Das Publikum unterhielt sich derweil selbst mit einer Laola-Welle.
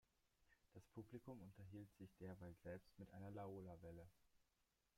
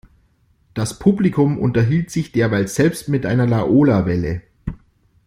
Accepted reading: second